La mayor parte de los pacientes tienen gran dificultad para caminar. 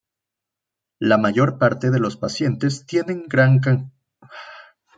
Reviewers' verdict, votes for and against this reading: rejected, 0, 2